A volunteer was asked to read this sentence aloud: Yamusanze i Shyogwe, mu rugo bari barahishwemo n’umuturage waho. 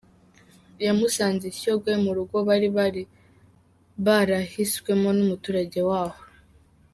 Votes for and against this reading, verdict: 0, 3, rejected